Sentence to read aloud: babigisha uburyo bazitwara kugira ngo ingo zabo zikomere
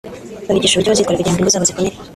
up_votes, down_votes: 0, 2